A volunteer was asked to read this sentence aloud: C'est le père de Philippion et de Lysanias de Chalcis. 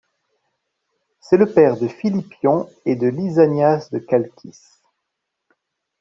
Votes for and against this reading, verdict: 1, 2, rejected